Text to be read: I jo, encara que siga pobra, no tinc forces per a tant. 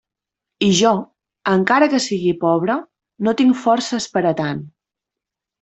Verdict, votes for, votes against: rejected, 0, 2